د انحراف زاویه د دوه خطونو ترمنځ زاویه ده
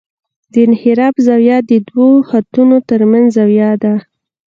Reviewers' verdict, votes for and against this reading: rejected, 1, 2